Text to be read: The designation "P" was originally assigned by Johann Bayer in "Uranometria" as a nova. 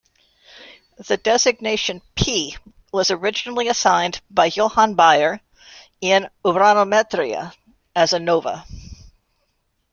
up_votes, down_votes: 2, 0